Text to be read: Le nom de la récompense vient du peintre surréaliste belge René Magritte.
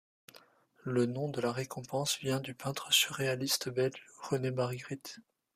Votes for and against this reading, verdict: 1, 2, rejected